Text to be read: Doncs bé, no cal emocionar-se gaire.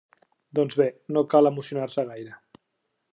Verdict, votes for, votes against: accepted, 3, 0